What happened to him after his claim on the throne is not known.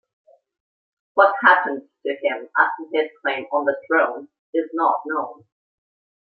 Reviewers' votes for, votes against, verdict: 0, 2, rejected